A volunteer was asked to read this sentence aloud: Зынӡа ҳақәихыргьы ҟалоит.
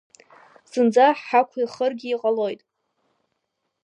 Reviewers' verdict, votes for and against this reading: accepted, 3, 1